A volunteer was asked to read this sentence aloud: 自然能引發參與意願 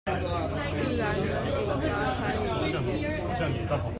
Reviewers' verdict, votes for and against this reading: rejected, 1, 2